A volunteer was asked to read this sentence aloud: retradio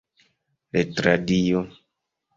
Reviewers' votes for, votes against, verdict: 3, 0, accepted